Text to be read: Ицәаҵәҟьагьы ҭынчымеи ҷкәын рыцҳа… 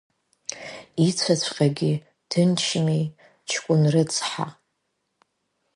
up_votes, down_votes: 2, 3